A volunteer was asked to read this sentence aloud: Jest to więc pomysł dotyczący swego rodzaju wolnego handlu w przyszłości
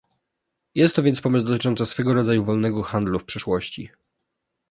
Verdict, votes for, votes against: accepted, 2, 0